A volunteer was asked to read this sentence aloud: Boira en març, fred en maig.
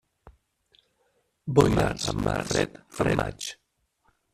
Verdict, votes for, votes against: rejected, 0, 2